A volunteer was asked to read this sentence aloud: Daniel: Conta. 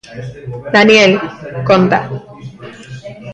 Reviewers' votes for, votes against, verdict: 1, 2, rejected